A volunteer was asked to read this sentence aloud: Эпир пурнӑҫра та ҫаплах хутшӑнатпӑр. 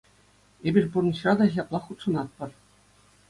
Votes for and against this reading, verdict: 2, 0, accepted